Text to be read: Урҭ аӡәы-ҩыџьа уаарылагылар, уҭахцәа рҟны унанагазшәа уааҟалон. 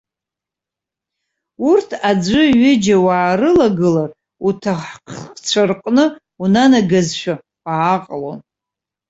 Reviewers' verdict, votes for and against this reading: rejected, 0, 2